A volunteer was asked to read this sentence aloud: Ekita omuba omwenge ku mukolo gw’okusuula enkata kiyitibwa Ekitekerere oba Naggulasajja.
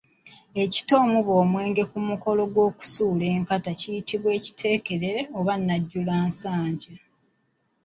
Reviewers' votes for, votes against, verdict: 0, 2, rejected